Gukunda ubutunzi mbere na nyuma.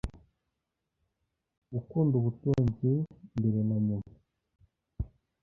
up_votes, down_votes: 1, 2